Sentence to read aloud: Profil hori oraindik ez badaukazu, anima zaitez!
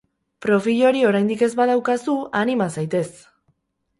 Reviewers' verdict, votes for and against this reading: accepted, 4, 0